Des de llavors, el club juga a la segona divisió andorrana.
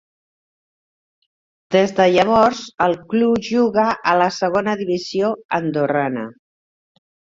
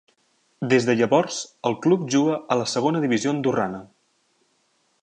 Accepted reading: second